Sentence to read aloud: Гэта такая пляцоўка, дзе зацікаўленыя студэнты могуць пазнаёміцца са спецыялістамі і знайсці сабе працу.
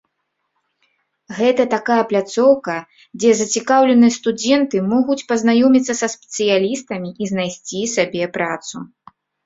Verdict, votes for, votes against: rejected, 0, 2